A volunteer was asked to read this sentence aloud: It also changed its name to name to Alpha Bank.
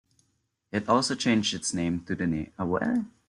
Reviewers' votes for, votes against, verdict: 0, 2, rejected